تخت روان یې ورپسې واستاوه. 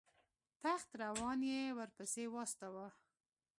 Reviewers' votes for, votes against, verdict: 1, 2, rejected